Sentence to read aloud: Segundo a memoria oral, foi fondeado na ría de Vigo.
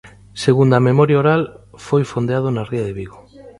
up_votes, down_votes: 2, 0